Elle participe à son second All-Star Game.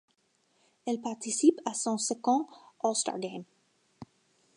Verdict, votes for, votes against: accepted, 2, 0